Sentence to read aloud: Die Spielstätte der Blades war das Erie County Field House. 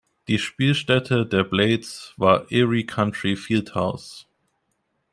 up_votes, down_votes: 1, 2